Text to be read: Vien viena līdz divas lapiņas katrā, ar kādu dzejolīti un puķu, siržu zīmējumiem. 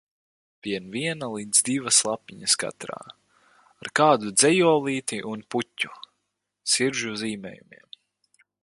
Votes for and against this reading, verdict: 4, 0, accepted